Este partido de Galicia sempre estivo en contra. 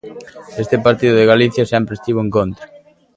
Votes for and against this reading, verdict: 2, 0, accepted